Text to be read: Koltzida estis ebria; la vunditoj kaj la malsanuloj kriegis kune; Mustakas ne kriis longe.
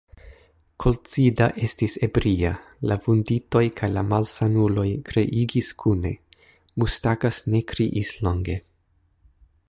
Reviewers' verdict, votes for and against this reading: rejected, 1, 3